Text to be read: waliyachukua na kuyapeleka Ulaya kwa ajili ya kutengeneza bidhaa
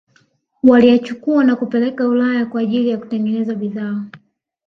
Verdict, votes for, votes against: accepted, 2, 0